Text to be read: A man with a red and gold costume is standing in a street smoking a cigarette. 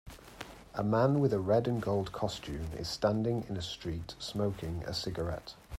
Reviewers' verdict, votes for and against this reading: accepted, 2, 0